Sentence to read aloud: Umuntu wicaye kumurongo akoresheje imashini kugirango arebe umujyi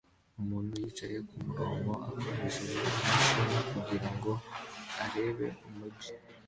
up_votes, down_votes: 2, 1